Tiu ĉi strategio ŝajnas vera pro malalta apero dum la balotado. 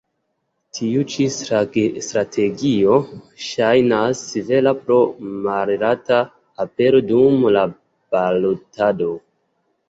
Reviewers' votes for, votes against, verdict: 2, 0, accepted